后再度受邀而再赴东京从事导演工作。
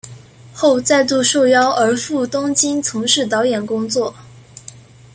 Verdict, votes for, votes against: rejected, 1, 2